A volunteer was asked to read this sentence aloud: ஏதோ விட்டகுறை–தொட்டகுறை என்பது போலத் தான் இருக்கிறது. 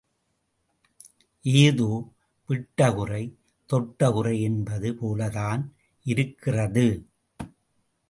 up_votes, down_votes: 2, 0